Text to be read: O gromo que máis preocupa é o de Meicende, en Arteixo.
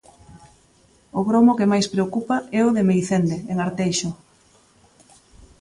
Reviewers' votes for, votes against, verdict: 2, 0, accepted